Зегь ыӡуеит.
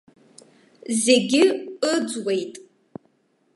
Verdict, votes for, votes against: rejected, 1, 2